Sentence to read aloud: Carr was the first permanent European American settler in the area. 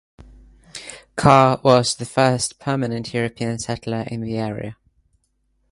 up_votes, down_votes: 0, 2